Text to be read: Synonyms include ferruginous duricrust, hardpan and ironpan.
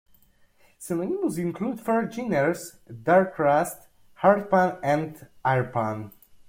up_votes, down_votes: 1, 2